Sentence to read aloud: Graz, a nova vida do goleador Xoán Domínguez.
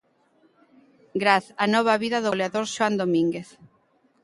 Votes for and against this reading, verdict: 2, 0, accepted